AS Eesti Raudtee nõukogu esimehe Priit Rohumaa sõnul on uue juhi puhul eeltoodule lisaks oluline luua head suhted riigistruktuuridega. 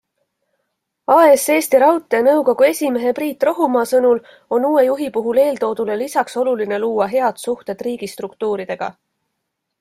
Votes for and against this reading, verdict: 2, 0, accepted